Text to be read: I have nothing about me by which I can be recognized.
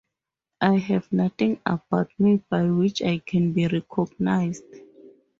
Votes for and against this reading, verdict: 6, 0, accepted